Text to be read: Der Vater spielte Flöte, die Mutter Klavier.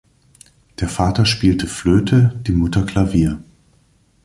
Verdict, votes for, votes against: accepted, 2, 0